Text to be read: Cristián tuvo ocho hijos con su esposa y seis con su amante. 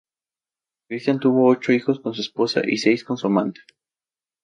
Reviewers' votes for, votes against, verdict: 2, 0, accepted